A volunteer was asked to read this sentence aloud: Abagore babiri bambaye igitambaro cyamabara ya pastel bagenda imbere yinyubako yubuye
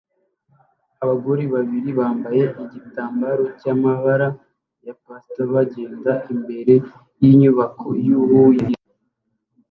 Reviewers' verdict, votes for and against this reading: rejected, 1, 2